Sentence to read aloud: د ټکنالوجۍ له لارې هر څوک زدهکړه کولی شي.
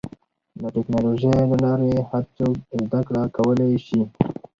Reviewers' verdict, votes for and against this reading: accepted, 4, 2